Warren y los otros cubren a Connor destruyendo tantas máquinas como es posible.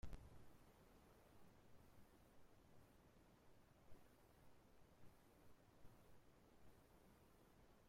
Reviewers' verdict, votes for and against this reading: rejected, 0, 2